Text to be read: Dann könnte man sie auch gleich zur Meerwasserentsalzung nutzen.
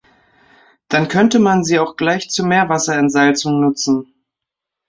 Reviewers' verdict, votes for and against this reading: accepted, 2, 0